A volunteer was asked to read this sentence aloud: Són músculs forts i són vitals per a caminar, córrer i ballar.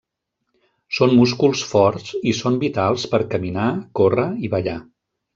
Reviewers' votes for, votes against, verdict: 1, 2, rejected